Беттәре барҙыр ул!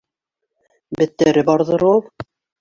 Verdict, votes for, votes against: accepted, 2, 1